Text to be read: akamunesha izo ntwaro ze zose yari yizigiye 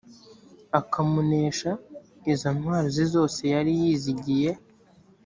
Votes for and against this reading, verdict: 2, 0, accepted